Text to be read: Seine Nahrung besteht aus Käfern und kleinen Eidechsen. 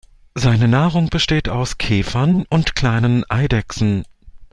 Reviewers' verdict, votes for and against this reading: accepted, 2, 0